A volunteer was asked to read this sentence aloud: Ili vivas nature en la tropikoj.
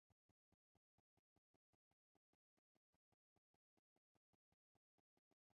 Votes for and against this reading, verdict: 1, 2, rejected